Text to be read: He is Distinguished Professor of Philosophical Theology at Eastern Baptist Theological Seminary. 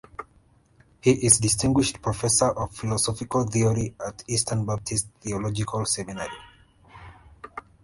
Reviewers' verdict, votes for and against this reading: accepted, 2, 1